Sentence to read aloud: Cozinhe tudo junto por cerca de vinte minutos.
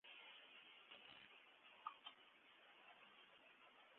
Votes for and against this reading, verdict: 0, 2, rejected